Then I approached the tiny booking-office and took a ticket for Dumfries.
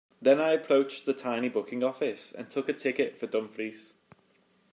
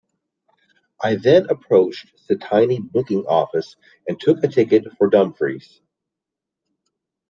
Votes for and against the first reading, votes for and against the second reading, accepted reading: 2, 0, 0, 2, first